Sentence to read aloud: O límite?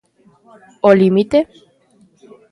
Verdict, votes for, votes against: rejected, 1, 2